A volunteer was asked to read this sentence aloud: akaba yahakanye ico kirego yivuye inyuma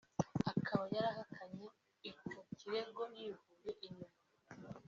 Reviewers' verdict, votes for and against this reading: accepted, 2, 0